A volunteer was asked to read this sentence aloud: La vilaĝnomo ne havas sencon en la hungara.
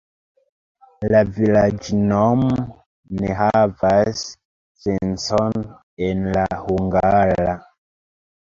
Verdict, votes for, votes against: rejected, 0, 2